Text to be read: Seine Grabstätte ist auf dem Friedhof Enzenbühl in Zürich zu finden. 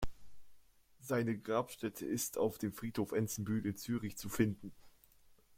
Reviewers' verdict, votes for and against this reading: accepted, 2, 0